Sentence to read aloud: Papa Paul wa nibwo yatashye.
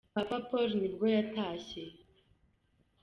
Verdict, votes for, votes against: accepted, 2, 1